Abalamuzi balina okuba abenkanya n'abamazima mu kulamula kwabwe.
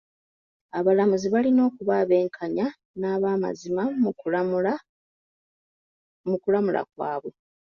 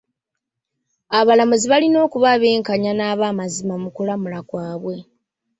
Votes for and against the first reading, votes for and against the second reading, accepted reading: 0, 2, 2, 0, second